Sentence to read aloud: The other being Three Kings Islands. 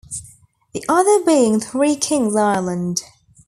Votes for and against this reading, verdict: 2, 1, accepted